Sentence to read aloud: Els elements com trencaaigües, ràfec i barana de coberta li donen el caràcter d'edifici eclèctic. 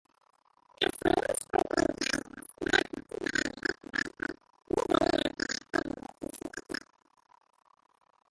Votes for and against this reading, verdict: 0, 2, rejected